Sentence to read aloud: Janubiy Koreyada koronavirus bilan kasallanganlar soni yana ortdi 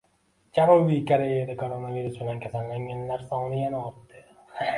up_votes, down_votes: 1, 2